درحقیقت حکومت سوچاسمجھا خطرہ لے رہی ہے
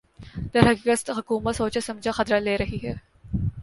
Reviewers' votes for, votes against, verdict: 2, 0, accepted